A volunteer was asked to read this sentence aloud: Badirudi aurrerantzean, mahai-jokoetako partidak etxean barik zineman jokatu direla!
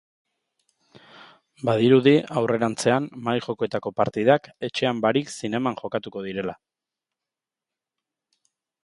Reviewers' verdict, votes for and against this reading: accepted, 2, 0